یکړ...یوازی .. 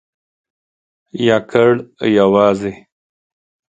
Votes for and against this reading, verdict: 2, 0, accepted